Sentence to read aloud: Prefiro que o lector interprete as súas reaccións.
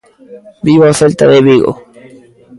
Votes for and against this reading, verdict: 0, 2, rejected